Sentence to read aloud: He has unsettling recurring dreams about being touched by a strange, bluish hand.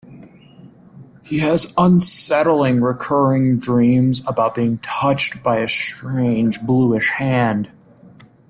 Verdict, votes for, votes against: accepted, 2, 0